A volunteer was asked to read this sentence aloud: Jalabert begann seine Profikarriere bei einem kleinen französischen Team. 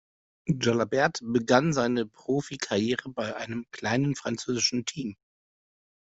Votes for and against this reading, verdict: 2, 0, accepted